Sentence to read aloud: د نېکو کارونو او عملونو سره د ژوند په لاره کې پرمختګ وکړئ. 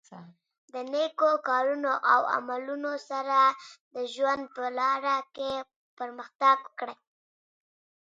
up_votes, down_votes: 4, 0